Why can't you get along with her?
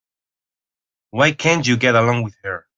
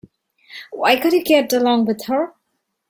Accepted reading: first